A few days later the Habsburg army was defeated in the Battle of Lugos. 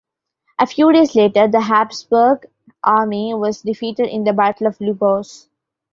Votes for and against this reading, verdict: 2, 0, accepted